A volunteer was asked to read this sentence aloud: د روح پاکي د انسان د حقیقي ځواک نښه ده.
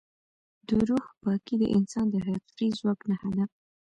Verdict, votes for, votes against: rejected, 0, 2